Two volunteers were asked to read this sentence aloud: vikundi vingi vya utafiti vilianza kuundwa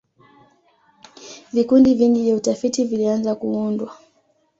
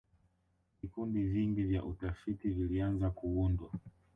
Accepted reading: first